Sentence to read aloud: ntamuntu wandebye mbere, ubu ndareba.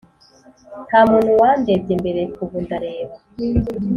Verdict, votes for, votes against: accepted, 2, 0